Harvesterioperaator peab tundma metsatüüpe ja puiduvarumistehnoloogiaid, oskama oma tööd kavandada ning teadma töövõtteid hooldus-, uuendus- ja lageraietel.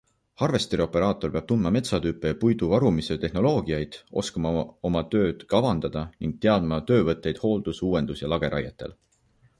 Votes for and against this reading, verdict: 1, 2, rejected